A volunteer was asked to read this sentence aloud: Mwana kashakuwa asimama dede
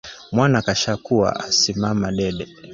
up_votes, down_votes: 2, 0